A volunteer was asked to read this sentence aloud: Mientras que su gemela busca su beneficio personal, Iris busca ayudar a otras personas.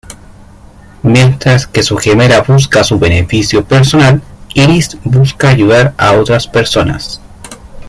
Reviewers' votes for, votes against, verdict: 2, 1, accepted